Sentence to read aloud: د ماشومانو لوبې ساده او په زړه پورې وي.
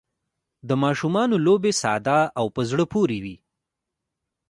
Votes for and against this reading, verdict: 2, 1, accepted